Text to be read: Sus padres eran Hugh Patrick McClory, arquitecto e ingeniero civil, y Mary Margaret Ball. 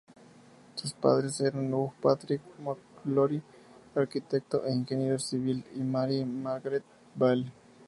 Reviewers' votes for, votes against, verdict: 2, 0, accepted